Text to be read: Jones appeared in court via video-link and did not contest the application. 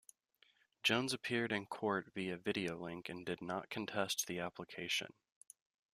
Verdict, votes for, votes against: accepted, 2, 0